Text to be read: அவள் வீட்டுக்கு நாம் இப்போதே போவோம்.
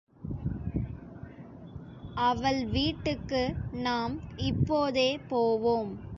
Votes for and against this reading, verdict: 2, 0, accepted